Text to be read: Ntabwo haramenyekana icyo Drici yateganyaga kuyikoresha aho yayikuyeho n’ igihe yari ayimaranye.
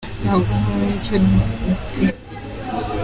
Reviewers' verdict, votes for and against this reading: rejected, 0, 2